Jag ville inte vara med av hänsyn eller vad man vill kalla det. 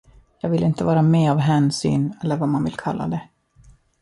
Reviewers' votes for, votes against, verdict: 2, 0, accepted